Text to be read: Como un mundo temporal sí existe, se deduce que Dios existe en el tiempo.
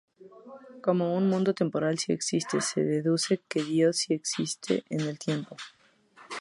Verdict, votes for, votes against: rejected, 2, 2